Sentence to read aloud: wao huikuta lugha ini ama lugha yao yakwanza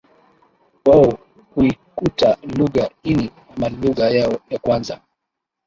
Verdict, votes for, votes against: rejected, 1, 3